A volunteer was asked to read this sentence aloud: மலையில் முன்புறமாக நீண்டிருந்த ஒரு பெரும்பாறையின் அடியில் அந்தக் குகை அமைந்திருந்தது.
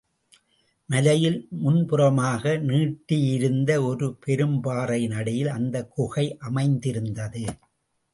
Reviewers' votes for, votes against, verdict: 0, 2, rejected